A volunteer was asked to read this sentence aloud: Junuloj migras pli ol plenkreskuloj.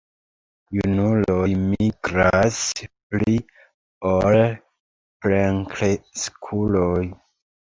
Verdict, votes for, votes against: rejected, 1, 2